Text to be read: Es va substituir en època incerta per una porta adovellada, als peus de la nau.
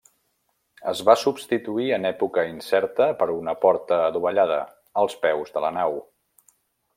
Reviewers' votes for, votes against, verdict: 3, 0, accepted